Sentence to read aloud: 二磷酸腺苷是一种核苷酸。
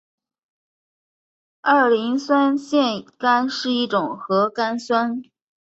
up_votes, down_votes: 2, 0